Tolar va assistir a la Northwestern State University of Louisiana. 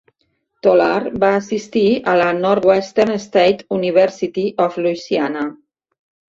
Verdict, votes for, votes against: accepted, 3, 0